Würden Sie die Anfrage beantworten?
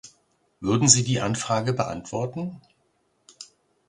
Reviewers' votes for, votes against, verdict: 2, 0, accepted